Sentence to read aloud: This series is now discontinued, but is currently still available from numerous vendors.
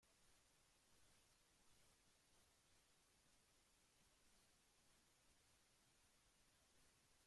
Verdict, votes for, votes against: rejected, 0, 2